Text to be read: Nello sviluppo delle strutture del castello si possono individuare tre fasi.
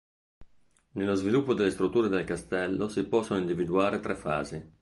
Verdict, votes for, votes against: accepted, 2, 0